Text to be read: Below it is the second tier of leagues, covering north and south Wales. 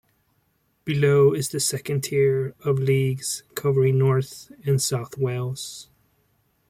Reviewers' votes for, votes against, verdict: 2, 0, accepted